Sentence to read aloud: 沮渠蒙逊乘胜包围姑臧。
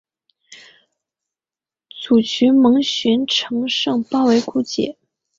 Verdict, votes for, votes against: accepted, 3, 0